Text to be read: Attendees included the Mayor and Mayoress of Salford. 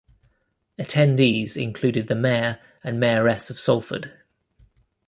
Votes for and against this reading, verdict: 2, 0, accepted